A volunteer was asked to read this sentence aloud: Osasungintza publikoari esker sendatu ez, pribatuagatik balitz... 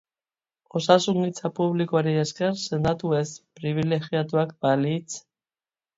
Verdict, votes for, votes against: rejected, 0, 2